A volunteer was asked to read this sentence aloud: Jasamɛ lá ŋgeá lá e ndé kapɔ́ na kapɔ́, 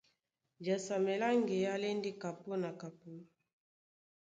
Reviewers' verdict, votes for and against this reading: accepted, 2, 0